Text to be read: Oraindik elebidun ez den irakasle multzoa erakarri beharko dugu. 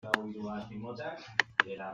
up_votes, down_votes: 0, 2